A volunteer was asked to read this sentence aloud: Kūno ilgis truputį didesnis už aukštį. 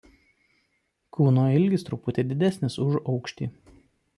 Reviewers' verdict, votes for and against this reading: accepted, 2, 0